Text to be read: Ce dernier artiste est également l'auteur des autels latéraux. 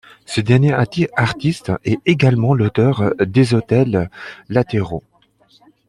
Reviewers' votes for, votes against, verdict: 0, 2, rejected